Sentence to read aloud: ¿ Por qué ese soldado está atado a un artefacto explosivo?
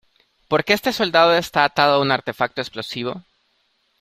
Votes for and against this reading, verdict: 0, 2, rejected